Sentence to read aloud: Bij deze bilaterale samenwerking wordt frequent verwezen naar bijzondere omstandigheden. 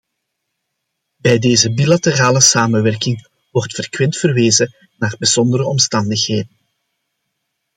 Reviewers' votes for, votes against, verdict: 1, 2, rejected